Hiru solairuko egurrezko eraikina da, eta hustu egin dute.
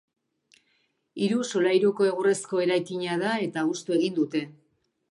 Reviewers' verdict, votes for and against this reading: accepted, 3, 0